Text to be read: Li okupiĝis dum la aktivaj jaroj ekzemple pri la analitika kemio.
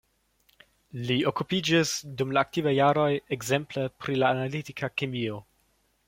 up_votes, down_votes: 2, 0